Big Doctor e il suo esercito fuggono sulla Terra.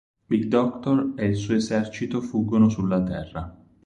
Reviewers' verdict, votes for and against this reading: accepted, 4, 0